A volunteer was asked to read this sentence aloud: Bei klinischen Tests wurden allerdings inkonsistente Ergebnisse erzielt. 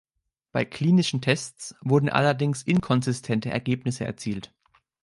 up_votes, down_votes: 2, 0